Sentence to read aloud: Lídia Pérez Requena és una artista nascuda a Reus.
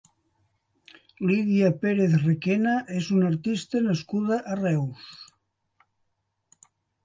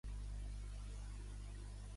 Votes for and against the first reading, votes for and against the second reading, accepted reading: 2, 0, 0, 2, first